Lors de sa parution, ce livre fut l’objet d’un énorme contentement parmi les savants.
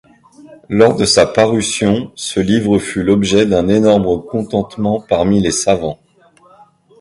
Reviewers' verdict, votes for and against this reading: rejected, 0, 2